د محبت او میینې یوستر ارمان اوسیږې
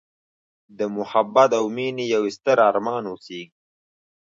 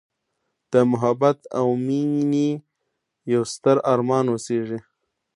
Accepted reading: first